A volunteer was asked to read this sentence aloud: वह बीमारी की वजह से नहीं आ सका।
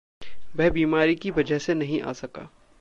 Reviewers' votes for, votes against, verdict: 2, 0, accepted